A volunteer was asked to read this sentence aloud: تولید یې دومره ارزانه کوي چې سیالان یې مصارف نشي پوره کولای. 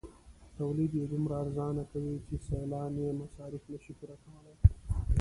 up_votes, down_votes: 0, 2